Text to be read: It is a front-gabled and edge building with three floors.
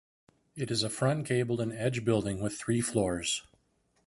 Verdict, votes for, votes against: accepted, 2, 0